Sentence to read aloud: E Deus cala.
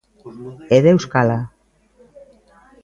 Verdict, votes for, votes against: accepted, 2, 1